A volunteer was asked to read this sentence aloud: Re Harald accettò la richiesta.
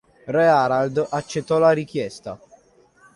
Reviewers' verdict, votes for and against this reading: accepted, 2, 0